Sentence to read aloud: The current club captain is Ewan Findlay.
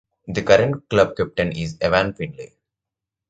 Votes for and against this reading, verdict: 2, 0, accepted